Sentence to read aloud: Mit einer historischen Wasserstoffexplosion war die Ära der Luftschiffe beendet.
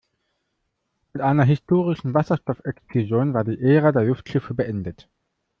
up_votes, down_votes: 0, 2